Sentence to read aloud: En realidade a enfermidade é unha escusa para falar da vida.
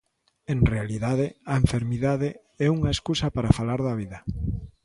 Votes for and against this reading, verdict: 2, 0, accepted